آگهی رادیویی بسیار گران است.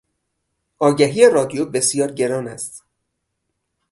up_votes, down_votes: 0, 4